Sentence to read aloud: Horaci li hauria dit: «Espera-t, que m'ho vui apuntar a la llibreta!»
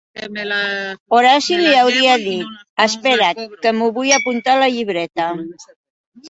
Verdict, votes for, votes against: rejected, 0, 4